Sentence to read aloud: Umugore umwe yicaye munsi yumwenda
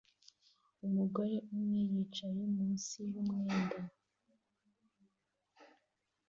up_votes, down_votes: 2, 0